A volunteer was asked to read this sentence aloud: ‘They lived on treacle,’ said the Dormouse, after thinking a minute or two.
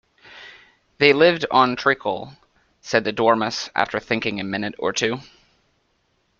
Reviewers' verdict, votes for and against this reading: accepted, 2, 0